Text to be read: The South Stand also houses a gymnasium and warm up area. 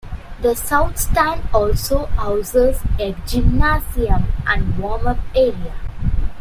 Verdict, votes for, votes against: accepted, 2, 0